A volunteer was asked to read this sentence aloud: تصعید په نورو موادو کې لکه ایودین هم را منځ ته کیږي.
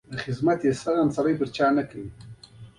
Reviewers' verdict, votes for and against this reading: accepted, 2, 0